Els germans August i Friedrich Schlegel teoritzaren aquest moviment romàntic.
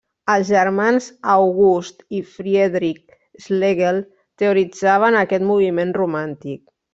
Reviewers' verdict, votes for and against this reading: rejected, 1, 2